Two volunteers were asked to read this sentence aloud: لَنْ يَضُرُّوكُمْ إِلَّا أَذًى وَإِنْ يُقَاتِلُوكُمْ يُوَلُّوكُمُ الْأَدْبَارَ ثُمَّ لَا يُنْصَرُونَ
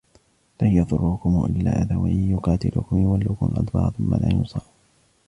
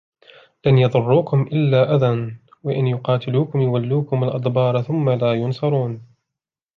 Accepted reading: second